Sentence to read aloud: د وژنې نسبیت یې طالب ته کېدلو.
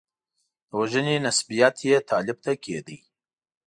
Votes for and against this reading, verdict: 2, 1, accepted